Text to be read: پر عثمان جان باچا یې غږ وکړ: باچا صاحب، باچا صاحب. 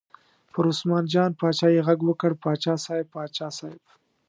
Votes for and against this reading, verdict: 2, 0, accepted